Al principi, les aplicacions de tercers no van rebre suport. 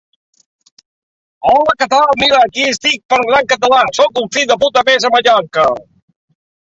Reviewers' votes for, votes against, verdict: 0, 2, rejected